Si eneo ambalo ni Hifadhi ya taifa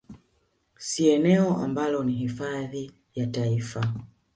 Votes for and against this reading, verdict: 0, 2, rejected